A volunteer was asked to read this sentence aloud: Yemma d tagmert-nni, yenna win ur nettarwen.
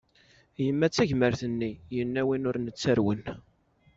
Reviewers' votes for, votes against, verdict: 2, 0, accepted